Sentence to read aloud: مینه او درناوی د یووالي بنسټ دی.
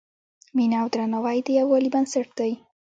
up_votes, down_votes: 2, 0